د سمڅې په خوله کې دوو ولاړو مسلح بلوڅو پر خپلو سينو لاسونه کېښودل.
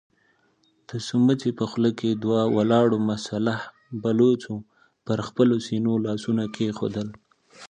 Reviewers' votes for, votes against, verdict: 2, 0, accepted